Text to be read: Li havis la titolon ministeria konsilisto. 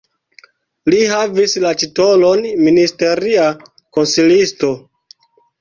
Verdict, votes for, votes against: accepted, 2, 0